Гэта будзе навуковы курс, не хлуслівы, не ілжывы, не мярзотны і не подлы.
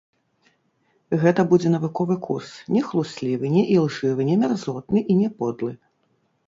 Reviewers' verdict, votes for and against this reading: rejected, 0, 2